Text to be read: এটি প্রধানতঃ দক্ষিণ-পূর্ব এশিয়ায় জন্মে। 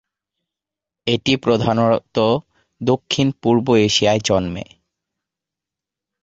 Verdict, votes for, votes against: rejected, 1, 2